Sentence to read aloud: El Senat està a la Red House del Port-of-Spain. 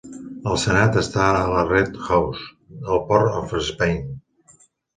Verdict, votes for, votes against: rejected, 0, 2